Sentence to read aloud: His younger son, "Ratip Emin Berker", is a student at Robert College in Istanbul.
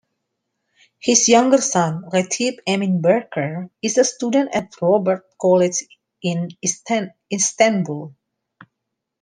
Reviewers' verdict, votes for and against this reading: rejected, 1, 2